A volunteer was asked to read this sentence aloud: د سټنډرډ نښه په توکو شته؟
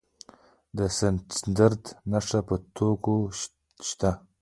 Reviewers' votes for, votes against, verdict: 2, 1, accepted